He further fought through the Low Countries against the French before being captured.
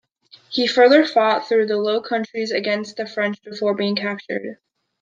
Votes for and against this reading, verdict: 3, 0, accepted